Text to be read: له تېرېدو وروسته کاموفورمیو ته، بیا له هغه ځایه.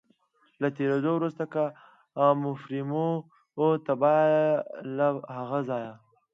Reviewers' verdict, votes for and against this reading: accepted, 3, 0